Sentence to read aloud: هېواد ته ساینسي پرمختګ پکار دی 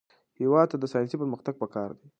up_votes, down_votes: 2, 0